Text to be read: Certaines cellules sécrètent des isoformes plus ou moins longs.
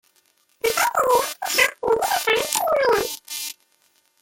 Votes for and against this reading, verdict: 0, 2, rejected